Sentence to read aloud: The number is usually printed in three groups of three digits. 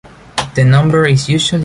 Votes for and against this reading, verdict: 0, 2, rejected